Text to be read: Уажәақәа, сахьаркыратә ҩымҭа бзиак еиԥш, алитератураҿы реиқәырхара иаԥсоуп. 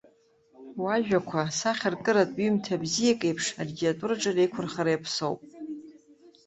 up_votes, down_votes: 0, 2